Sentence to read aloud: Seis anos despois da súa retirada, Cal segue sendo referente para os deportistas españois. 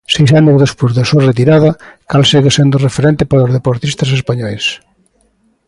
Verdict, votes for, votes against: accepted, 2, 0